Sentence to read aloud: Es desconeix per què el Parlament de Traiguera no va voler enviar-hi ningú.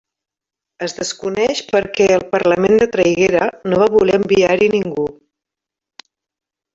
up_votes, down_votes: 0, 2